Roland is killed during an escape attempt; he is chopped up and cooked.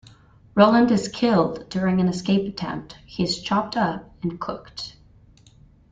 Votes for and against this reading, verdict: 2, 0, accepted